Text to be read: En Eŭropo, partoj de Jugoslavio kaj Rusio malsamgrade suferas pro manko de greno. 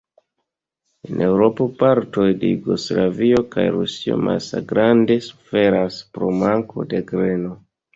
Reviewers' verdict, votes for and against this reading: rejected, 1, 2